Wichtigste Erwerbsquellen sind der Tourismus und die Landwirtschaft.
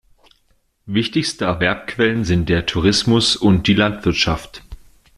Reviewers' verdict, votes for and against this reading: rejected, 1, 2